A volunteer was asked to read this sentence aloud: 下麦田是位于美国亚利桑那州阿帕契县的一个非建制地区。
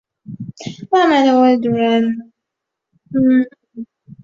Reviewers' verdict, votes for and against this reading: rejected, 0, 2